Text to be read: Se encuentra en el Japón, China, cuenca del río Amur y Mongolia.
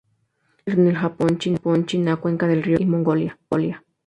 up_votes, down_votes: 0, 2